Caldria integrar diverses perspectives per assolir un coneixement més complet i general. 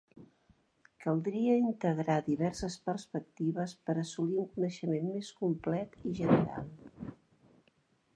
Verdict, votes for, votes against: accepted, 2, 0